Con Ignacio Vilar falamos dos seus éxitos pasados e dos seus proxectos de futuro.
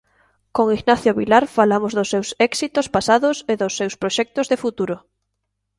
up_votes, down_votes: 2, 0